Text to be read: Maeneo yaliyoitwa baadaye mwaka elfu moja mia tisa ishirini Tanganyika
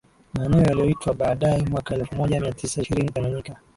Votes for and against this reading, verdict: 1, 2, rejected